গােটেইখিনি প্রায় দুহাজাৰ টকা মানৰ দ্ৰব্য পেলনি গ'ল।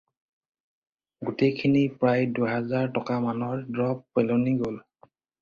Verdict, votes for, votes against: rejected, 2, 2